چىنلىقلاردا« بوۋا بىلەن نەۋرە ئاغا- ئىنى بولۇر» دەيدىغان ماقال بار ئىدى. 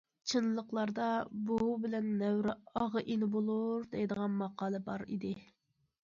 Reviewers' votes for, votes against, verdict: 2, 0, accepted